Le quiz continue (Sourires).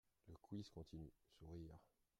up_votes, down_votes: 2, 1